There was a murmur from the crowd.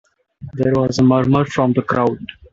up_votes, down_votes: 3, 0